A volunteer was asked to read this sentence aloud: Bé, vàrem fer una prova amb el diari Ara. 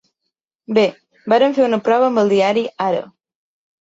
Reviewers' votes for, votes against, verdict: 4, 0, accepted